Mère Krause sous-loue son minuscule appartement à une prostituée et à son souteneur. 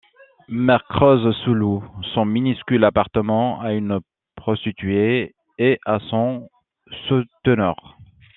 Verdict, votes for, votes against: accepted, 2, 0